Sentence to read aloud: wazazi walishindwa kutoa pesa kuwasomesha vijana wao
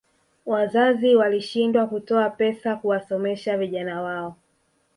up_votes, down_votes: 4, 0